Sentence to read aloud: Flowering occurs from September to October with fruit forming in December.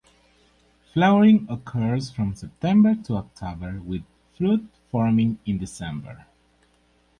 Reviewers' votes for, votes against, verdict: 6, 0, accepted